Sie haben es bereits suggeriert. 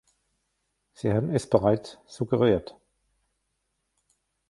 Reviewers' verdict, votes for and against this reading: rejected, 1, 2